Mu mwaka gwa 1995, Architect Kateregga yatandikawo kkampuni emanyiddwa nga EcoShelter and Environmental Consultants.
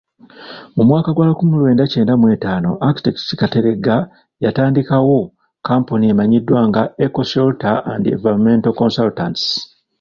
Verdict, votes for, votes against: rejected, 0, 2